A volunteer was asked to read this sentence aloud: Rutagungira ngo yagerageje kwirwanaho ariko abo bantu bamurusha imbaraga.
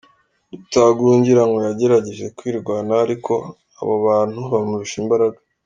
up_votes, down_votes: 2, 0